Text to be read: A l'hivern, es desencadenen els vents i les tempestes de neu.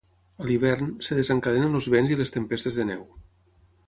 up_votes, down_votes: 6, 3